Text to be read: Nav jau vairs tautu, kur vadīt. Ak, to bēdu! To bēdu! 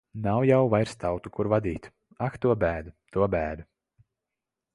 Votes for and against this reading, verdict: 2, 0, accepted